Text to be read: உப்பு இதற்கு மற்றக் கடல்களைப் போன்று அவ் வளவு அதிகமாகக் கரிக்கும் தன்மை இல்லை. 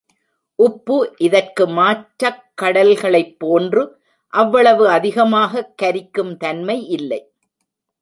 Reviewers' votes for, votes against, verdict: 0, 2, rejected